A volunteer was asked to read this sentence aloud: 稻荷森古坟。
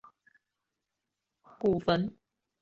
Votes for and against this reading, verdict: 1, 3, rejected